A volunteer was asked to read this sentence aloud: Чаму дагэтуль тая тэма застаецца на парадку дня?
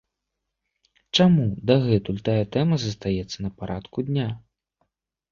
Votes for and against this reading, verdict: 2, 0, accepted